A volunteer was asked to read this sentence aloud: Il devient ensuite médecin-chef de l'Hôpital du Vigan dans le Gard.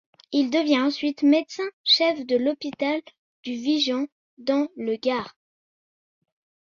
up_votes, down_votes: 0, 2